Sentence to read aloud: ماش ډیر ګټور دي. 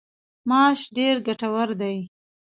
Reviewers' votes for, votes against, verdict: 1, 2, rejected